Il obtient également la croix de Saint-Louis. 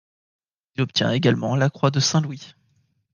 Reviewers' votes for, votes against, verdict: 2, 1, accepted